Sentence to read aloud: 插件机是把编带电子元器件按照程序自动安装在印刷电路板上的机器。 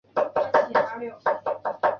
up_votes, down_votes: 1, 2